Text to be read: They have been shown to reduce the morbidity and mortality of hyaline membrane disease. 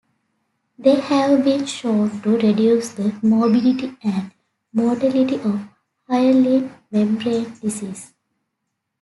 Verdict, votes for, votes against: accepted, 2, 1